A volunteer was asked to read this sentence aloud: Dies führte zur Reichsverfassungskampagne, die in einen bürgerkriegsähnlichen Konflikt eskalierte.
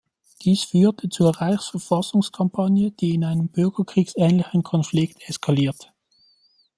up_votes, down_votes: 1, 2